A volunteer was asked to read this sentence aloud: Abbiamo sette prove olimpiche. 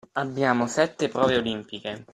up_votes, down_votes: 2, 0